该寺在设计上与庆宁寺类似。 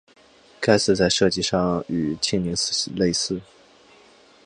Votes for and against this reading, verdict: 3, 1, accepted